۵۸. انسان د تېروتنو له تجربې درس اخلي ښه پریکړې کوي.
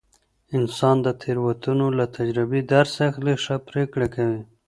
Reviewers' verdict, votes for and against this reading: rejected, 0, 2